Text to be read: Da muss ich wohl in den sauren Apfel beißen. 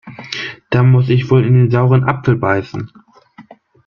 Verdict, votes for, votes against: accepted, 2, 0